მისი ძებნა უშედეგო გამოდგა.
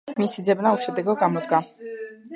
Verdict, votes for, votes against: accepted, 2, 0